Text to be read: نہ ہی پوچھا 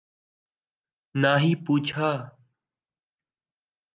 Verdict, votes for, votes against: accepted, 2, 0